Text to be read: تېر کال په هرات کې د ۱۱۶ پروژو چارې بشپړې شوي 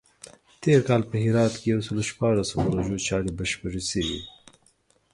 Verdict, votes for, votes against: rejected, 0, 2